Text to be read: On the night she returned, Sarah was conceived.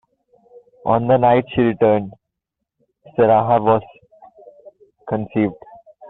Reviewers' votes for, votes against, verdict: 2, 1, accepted